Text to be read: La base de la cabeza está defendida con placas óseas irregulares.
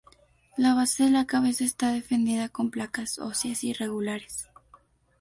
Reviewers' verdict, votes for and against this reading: accepted, 4, 0